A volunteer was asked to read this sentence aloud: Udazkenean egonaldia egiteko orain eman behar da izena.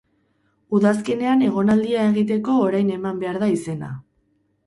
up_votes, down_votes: 8, 0